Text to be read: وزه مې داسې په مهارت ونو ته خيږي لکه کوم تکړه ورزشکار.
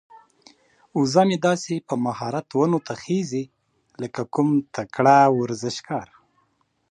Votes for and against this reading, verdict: 2, 0, accepted